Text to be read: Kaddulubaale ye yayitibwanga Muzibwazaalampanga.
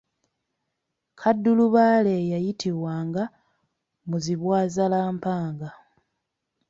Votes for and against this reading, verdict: 2, 0, accepted